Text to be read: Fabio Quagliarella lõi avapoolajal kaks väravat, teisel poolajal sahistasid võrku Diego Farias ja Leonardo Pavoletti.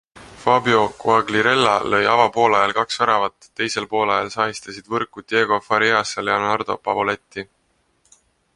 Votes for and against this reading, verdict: 2, 0, accepted